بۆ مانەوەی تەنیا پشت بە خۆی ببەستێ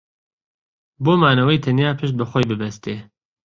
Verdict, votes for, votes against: accepted, 2, 0